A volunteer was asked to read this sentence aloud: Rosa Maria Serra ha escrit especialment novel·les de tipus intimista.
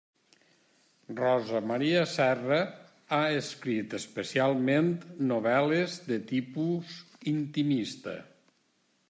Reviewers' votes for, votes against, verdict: 3, 0, accepted